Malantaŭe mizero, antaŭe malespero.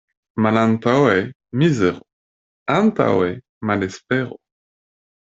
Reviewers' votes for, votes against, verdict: 1, 2, rejected